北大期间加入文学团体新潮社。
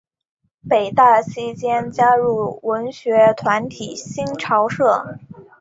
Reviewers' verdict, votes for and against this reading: accepted, 2, 0